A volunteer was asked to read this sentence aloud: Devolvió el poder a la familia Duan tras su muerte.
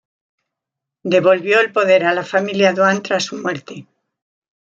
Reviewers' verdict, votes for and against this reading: accepted, 2, 0